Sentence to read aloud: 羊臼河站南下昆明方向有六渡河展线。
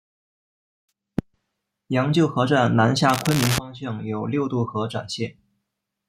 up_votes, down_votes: 0, 2